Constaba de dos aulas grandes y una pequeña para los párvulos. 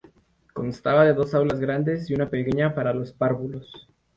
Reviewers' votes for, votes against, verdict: 2, 0, accepted